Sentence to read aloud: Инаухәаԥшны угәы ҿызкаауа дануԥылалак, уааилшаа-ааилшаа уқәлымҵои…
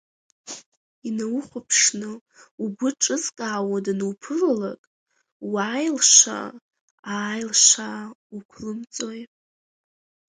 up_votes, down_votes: 0, 4